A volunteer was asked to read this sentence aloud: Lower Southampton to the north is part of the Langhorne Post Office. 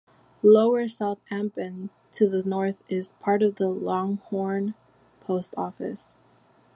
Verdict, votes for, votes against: rejected, 0, 2